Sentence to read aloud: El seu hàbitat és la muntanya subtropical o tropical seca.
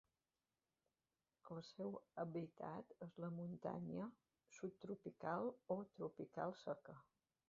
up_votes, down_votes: 1, 2